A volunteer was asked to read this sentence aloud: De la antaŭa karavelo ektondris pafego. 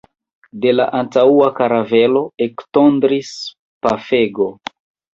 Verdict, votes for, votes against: rejected, 1, 2